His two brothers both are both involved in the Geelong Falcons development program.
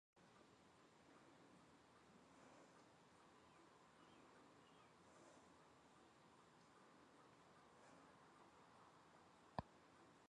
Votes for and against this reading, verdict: 0, 2, rejected